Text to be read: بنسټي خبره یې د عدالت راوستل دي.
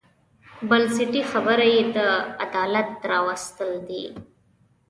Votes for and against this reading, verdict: 2, 0, accepted